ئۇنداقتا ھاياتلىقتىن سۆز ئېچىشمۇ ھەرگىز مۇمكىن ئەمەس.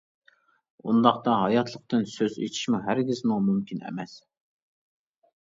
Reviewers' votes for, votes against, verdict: 0, 2, rejected